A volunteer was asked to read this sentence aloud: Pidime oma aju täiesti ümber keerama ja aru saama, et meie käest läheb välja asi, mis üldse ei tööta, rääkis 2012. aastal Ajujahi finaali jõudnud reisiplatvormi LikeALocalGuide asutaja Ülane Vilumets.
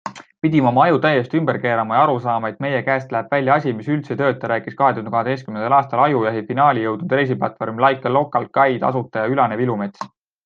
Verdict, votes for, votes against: rejected, 0, 2